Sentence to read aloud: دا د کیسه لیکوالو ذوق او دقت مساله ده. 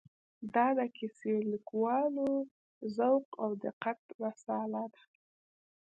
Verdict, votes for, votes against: rejected, 1, 2